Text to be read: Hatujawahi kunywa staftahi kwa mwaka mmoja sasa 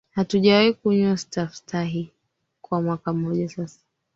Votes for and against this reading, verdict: 2, 3, rejected